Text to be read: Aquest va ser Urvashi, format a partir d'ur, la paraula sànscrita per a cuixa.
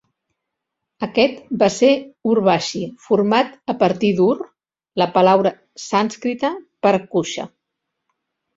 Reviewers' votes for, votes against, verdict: 0, 2, rejected